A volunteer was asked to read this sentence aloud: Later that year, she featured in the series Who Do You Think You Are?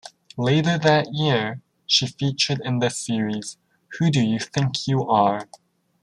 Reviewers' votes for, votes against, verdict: 1, 2, rejected